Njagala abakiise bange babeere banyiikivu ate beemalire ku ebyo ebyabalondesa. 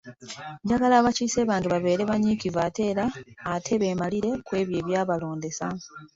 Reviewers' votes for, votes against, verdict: 0, 2, rejected